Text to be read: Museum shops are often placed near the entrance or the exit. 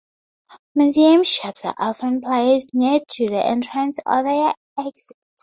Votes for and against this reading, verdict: 0, 4, rejected